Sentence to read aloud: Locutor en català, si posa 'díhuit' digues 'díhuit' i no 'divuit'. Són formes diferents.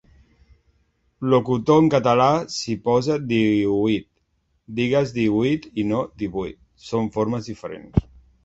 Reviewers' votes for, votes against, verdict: 1, 2, rejected